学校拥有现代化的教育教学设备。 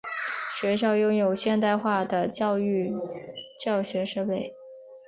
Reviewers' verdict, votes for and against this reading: accepted, 3, 0